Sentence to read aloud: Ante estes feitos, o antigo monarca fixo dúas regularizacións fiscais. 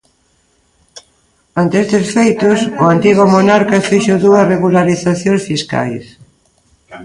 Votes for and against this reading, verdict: 2, 0, accepted